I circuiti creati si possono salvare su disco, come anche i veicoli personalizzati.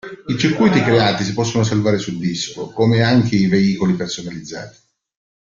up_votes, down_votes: 2, 1